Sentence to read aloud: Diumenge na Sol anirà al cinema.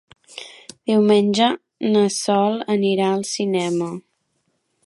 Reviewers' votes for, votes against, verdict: 3, 0, accepted